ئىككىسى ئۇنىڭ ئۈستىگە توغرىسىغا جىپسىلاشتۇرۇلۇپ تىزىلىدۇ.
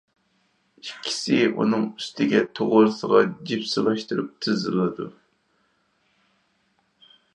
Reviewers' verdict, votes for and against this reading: rejected, 2, 4